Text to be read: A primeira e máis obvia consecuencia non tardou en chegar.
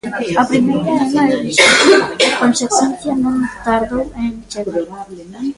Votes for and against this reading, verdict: 0, 2, rejected